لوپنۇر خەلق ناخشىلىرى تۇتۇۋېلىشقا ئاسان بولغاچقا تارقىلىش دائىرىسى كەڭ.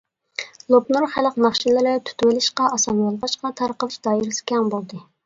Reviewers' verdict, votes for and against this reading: rejected, 0, 2